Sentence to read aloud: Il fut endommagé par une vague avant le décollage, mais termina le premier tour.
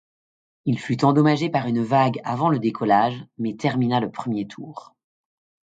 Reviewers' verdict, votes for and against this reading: accepted, 2, 0